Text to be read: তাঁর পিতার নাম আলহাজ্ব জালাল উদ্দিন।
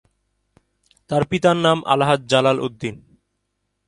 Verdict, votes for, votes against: accepted, 2, 0